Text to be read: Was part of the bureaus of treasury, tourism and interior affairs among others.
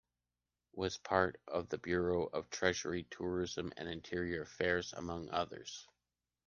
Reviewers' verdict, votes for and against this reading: accepted, 2, 1